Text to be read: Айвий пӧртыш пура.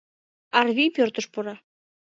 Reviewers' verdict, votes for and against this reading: rejected, 0, 2